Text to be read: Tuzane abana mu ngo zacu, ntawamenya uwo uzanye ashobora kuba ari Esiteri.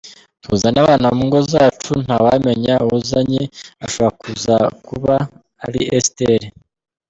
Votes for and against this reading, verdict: 1, 2, rejected